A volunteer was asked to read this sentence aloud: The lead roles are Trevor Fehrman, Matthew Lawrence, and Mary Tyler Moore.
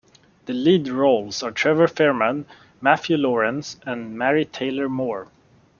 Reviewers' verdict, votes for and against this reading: rejected, 0, 2